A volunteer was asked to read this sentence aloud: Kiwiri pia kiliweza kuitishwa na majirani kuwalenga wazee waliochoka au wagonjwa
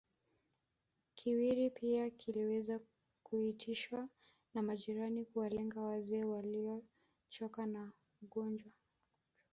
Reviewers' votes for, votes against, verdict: 1, 2, rejected